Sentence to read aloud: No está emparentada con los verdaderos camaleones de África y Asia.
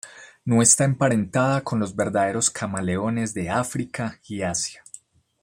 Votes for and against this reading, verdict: 2, 0, accepted